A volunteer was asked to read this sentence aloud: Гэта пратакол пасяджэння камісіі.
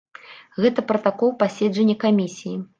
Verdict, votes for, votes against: rejected, 0, 2